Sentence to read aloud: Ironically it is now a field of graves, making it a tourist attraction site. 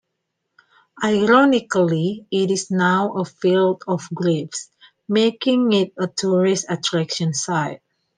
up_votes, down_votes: 2, 0